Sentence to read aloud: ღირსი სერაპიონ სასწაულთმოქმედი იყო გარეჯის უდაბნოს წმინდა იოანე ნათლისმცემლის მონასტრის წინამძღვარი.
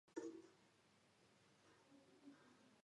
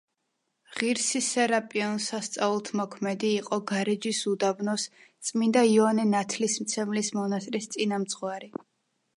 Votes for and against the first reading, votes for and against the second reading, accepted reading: 0, 2, 2, 0, second